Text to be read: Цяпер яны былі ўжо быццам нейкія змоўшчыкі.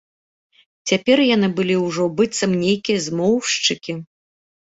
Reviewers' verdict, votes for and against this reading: accepted, 2, 0